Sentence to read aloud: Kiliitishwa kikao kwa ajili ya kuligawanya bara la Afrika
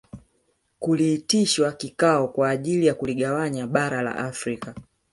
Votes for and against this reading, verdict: 1, 2, rejected